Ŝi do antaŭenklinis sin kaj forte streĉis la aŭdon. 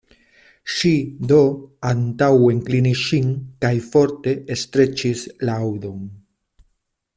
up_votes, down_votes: 0, 2